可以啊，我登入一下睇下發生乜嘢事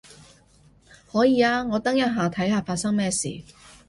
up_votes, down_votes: 1, 2